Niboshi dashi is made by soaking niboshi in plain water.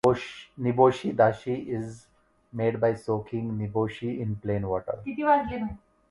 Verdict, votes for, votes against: rejected, 0, 2